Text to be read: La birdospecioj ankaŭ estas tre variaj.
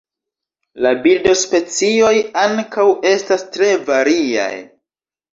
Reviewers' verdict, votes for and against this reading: rejected, 0, 2